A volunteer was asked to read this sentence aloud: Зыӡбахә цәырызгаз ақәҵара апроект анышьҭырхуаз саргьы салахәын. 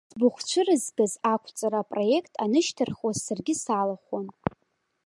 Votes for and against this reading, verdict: 2, 1, accepted